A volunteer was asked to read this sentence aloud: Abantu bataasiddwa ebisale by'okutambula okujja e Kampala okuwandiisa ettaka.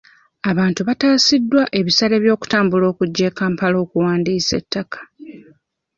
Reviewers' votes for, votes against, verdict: 1, 2, rejected